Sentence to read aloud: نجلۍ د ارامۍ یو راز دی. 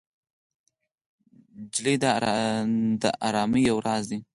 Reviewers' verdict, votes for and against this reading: accepted, 4, 0